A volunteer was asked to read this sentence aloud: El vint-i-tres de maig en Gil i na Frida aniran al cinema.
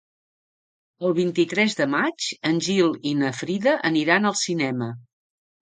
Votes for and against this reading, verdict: 2, 0, accepted